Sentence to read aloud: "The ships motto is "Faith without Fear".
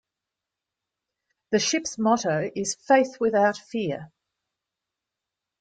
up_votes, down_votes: 2, 0